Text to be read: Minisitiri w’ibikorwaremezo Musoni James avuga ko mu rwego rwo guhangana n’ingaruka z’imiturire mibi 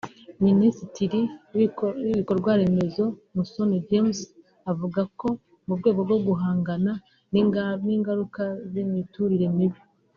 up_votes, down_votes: 1, 2